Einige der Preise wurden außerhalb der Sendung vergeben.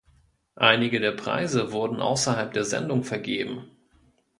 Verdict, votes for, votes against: accepted, 2, 0